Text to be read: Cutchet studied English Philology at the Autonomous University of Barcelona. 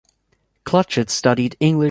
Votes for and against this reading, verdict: 0, 2, rejected